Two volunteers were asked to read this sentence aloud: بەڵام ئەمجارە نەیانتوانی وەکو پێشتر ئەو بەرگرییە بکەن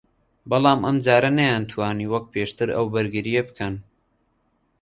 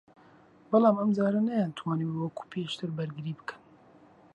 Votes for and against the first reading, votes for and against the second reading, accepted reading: 2, 0, 0, 2, first